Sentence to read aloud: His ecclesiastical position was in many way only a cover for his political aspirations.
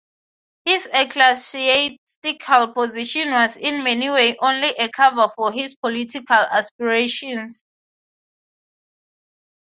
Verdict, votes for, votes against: rejected, 0, 3